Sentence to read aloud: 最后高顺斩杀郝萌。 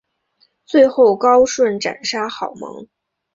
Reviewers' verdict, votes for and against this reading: accepted, 4, 0